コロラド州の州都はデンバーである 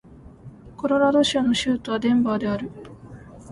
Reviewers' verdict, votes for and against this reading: accepted, 2, 1